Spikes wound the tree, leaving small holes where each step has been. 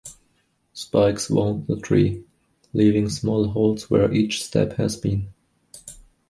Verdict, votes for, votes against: accepted, 2, 0